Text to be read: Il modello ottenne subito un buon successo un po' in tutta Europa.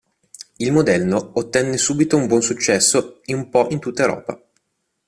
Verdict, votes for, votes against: rejected, 0, 2